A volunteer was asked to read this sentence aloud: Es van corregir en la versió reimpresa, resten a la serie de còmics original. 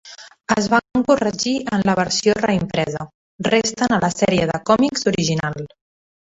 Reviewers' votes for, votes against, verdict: 3, 2, accepted